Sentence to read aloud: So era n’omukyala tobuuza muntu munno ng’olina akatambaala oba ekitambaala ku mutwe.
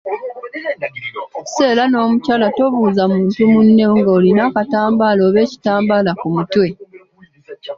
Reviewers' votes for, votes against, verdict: 2, 1, accepted